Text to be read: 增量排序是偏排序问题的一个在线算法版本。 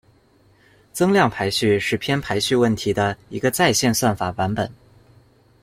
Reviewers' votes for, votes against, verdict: 2, 0, accepted